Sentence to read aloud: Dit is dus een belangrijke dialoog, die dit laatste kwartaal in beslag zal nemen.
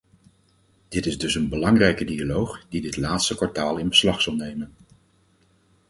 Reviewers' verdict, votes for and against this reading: accepted, 4, 0